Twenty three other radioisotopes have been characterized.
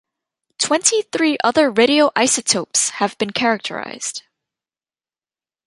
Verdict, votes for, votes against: accepted, 2, 0